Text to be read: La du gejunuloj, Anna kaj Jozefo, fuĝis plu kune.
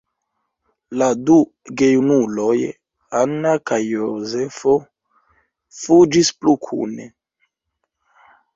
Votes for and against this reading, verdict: 2, 1, accepted